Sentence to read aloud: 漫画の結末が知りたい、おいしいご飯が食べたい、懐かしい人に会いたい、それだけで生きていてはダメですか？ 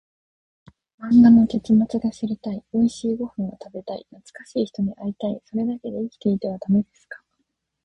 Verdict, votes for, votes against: rejected, 2, 4